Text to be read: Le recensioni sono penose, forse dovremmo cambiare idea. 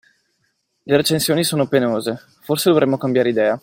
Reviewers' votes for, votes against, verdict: 2, 0, accepted